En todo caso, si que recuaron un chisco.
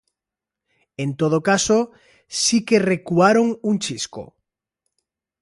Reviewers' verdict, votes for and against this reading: accepted, 2, 0